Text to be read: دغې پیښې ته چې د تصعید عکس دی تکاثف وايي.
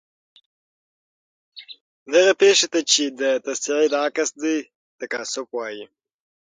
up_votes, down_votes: 6, 3